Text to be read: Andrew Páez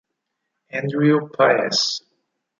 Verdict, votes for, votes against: rejected, 0, 4